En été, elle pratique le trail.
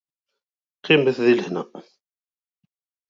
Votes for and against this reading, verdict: 0, 2, rejected